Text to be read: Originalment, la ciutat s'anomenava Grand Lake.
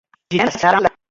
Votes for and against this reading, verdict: 1, 2, rejected